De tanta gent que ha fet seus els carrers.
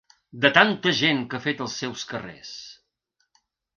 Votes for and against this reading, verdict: 0, 3, rejected